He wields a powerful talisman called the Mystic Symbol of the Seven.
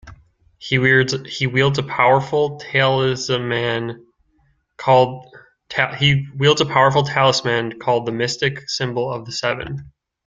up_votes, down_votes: 0, 2